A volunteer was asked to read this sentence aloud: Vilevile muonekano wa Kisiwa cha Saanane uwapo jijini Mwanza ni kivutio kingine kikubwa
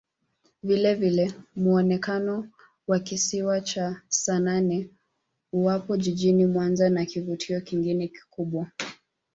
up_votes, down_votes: 0, 2